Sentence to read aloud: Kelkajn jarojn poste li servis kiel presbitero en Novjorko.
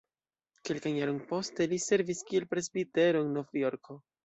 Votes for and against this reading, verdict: 2, 0, accepted